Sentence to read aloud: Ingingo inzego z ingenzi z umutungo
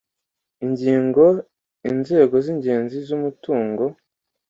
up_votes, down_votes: 2, 0